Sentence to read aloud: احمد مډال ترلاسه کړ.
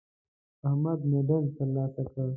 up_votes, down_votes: 2, 0